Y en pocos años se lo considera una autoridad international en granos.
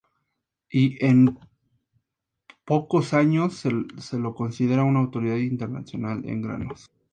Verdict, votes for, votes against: accepted, 2, 0